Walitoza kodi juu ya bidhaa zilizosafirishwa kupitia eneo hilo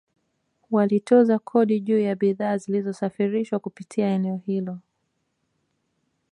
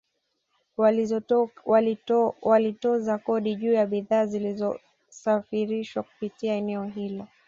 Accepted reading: first